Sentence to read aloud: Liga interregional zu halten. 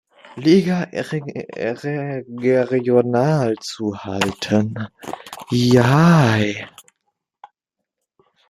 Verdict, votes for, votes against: rejected, 0, 2